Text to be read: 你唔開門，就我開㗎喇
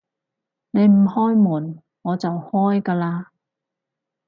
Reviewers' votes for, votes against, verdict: 0, 4, rejected